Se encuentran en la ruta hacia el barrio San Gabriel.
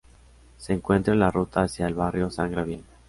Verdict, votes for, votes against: rejected, 0, 2